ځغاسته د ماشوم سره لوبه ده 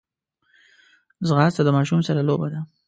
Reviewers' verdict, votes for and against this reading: accepted, 2, 0